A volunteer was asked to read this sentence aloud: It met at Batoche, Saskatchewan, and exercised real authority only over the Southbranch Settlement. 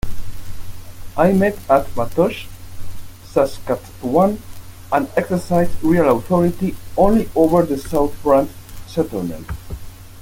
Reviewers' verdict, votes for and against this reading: rejected, 0, 2